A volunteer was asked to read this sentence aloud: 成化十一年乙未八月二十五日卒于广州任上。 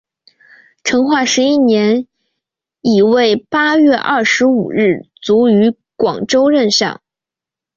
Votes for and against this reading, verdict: 5, 1, accepted